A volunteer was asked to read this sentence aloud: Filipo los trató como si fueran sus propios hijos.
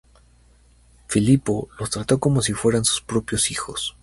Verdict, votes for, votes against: accepted, 2, 0